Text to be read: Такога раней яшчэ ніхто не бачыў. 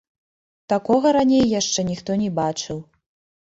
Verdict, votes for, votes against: accepted, 2, 1